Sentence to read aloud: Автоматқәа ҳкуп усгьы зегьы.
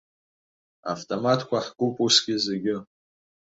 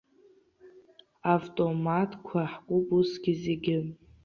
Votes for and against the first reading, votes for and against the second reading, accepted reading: 2, 1, 0, 2, first